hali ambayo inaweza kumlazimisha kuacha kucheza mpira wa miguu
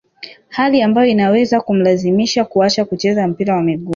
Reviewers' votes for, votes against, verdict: 0, 2, rejected